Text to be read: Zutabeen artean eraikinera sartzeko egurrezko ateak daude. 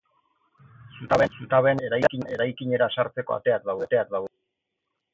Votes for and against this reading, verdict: 0, 2, rejected